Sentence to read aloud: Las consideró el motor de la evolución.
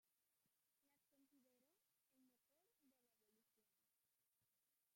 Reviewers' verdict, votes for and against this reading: rejected, 0, 2